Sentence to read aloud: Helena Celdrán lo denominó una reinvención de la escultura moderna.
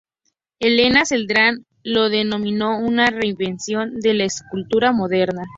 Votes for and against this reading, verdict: 6, 0, accepted